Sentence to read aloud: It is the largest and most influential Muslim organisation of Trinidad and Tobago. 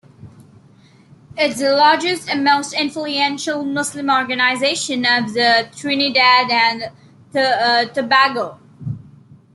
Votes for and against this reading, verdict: 0, 2, rejected